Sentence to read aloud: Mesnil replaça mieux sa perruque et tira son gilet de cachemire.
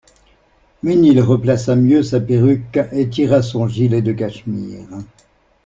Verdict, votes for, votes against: accepted, 2, 0